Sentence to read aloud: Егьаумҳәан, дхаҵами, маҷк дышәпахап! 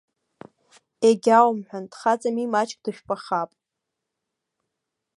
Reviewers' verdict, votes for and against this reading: accepted, 2, 0